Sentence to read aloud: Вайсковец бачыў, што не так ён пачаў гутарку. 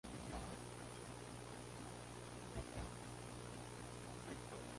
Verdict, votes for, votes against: rejected, 0, 2